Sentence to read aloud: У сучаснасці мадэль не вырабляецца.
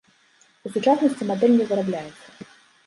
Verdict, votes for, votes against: accepted, 2, 0